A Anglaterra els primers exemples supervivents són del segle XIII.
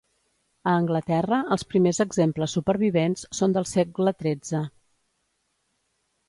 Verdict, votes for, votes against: accepted, 2, 0